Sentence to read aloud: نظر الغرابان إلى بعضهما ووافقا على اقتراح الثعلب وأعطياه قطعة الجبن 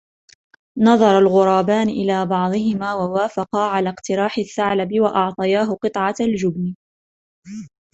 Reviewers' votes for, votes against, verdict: 2, 1, accepted